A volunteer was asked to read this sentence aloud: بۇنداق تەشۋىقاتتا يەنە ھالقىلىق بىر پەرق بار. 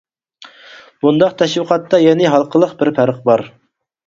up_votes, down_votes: 4, 0